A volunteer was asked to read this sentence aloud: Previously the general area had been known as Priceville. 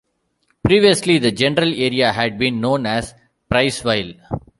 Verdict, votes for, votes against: accepted, 2, 0